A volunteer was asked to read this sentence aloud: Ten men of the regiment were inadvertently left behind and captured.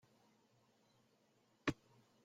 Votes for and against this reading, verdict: 0, 2, rejected